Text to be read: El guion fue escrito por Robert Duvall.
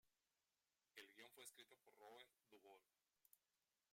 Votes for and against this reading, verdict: 0, 2, rejected